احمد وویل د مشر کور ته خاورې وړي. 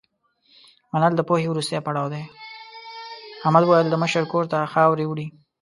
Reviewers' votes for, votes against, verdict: 1, 2, rejected